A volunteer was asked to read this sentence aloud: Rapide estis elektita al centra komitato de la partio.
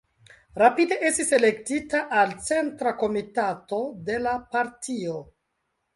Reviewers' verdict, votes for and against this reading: accepted, 2, 0